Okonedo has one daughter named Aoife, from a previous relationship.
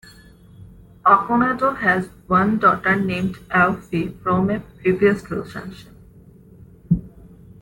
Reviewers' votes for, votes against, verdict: 1, 2, rejected